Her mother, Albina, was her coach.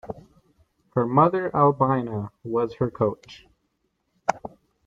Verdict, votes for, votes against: accepted, 2, 0